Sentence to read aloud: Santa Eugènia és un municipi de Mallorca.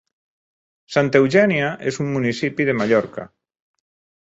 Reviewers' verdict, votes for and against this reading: accepted, 2, 0